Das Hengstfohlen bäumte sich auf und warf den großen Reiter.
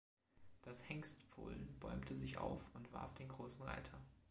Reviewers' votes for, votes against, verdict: 2, 0, accepted